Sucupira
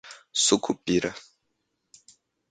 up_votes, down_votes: 2, 0